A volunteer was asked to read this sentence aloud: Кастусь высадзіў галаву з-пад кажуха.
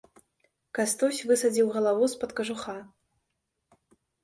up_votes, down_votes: 2, 0